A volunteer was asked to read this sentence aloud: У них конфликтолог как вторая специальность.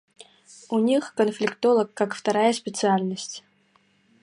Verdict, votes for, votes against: rejected, 1, 2